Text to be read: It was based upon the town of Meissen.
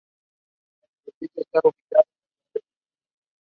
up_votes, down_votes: 0, 2